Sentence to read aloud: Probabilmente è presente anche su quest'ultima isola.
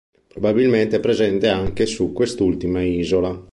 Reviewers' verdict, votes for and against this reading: accepted, 2, 0